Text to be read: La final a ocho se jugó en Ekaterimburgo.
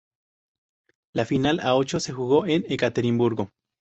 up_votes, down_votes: 2, 2